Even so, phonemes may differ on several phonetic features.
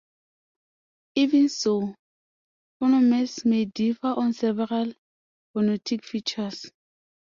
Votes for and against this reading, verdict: 2, 0, accepted